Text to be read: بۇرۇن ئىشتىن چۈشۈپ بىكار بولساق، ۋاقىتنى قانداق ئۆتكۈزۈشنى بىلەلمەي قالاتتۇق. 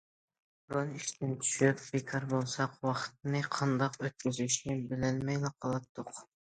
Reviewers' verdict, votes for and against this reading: rejected, 1, 2